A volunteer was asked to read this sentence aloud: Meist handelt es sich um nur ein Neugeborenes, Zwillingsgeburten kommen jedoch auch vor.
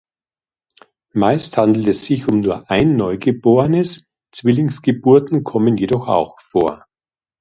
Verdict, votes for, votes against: accepted, 2, 0